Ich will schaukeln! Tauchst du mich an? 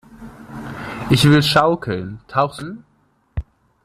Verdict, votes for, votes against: rejected, 0, 2